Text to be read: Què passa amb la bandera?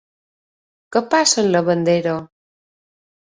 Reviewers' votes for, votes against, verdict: 0, 2, rejected